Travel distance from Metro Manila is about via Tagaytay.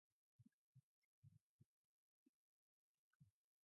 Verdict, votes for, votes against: rejected, 0, 2